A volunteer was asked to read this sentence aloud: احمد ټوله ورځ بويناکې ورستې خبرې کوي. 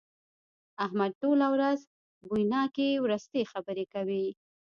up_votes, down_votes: 0, 2